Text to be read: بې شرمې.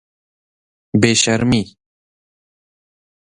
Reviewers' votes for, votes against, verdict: 0, 2, rejected